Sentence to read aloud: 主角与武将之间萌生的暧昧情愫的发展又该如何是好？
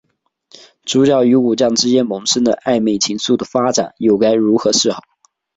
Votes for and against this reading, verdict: 3, 0, accepted